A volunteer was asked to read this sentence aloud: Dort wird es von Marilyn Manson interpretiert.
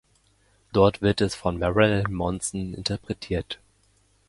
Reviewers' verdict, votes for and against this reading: accepted, 2, 1